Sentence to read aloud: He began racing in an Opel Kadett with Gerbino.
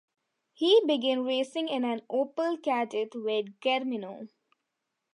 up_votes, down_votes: 0, 2